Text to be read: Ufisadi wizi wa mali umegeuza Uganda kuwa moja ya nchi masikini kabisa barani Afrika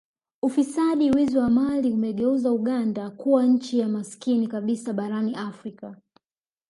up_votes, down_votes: 1, 2